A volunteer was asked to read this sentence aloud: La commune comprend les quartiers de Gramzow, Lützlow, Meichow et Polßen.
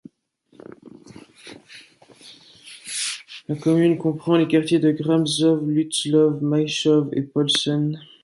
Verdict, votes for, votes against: accepted, 2, 0